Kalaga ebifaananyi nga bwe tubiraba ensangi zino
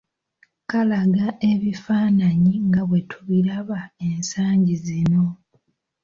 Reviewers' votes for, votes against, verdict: 2, 0, accepted